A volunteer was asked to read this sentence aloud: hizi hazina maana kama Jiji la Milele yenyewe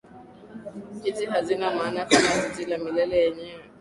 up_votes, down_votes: 1, 2